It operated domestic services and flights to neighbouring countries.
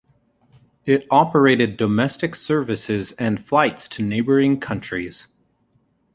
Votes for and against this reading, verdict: 2, 0, accepted